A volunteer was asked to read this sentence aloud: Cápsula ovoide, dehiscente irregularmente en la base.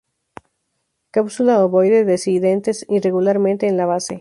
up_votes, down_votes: 4, 0